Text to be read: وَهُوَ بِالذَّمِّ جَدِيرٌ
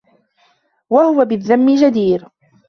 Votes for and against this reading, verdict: 2, 0, accepted